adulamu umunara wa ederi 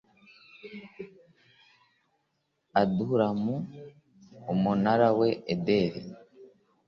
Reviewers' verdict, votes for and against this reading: accepted, 4, 0